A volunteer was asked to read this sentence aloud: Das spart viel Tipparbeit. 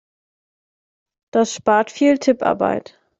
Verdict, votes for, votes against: accepted, 2, 0